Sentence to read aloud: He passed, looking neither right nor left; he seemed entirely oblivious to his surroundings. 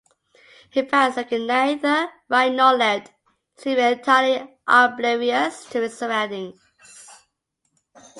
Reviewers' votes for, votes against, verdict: 2, 8, rejected